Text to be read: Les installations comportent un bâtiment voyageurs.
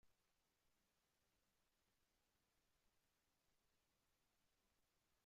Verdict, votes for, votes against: rejected, 0, 2